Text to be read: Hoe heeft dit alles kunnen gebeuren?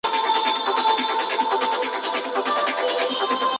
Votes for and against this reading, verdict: 0, 2, rejected